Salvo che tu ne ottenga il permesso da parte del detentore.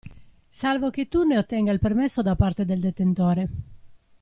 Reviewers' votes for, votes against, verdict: 2, 1, accepted